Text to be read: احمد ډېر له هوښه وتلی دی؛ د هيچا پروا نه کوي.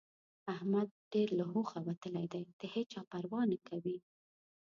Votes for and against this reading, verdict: 0, 2, rejected